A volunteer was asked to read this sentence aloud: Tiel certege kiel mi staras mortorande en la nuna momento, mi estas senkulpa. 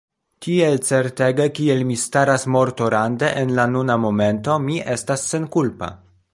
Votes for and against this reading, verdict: 1, 2, rejected